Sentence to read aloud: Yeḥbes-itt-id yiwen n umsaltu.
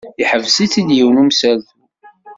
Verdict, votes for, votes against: rejected, 1, 2